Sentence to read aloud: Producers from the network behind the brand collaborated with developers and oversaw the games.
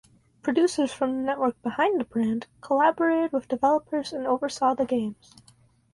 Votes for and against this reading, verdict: 4, 0, accepted